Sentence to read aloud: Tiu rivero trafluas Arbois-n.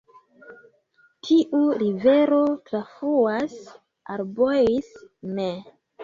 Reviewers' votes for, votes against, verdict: 0, 2, rejected